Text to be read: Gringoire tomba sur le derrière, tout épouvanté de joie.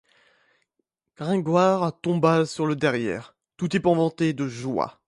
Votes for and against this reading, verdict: 2, 0, accepted